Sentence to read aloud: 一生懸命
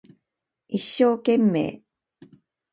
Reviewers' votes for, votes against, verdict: 3, 0, accepted